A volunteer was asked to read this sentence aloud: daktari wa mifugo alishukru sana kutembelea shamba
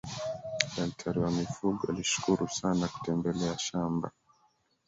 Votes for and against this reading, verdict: 0, 2, rejected